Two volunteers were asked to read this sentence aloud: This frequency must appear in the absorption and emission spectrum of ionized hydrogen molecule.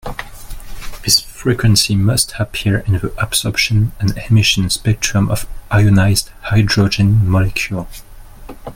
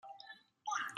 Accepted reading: first